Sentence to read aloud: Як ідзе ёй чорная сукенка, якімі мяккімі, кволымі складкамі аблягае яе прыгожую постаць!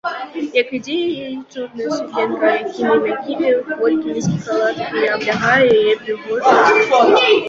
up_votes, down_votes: 0, 2